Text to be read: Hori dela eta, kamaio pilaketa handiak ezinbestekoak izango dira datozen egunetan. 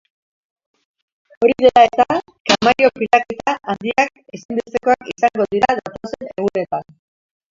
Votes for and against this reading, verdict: 0, 2, rejected